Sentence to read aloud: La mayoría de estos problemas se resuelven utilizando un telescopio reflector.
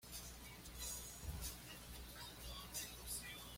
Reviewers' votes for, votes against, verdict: 1, 2, rejected